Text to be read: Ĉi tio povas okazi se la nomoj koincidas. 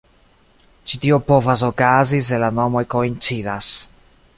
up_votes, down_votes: 2, 0